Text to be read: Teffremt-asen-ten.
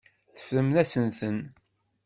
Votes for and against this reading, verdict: 0, 2, rejected